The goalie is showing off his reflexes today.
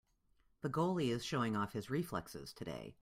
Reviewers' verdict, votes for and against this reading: accepted, 2, 0